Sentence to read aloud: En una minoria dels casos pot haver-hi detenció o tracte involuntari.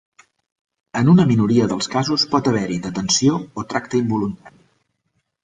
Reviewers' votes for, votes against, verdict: 0, 2, rejected